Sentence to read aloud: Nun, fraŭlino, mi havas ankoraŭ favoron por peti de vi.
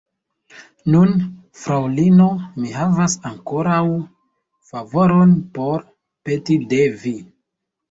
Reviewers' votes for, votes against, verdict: 3, 0, accepted